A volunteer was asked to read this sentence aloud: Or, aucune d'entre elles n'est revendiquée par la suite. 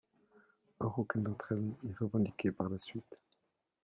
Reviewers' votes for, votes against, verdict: 0, 2, rejected